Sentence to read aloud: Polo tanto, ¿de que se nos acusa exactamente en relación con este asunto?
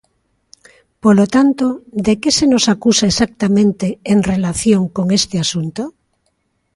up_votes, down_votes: 2, 1